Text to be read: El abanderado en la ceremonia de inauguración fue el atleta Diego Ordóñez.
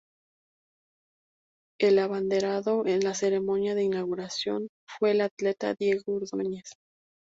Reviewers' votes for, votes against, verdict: 2, 0, accepted